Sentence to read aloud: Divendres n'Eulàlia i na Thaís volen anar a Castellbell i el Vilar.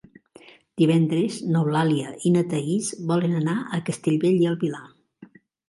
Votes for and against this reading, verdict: 2, 0, accepted